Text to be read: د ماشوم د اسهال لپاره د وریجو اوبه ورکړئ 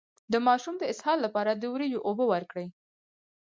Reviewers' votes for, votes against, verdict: 2, 4, rejected